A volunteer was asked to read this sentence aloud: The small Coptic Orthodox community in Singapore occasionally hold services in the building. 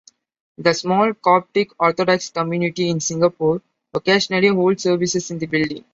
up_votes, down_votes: 2, 0